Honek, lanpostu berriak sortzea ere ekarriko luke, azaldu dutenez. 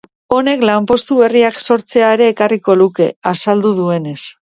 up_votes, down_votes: 0, 2